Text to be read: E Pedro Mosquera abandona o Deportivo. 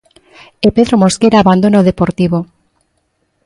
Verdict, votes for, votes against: accepted, 2, 0